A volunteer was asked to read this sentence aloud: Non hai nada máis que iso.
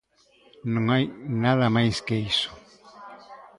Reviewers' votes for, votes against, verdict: 2, 0, accepted